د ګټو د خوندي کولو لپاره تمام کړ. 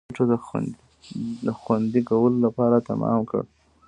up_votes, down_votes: 2, 0